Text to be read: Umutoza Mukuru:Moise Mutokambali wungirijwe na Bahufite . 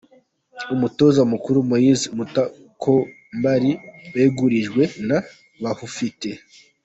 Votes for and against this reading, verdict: 0, 2, rejected